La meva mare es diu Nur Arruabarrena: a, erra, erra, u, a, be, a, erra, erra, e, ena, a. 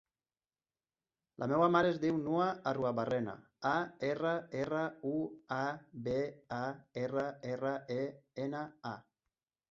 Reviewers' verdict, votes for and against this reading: rejected, 0, 2